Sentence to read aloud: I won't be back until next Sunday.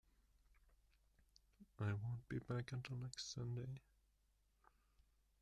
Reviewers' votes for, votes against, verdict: 1, 2, rejected